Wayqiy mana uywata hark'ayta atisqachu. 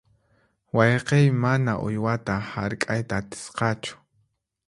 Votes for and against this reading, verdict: 4, 0, accepted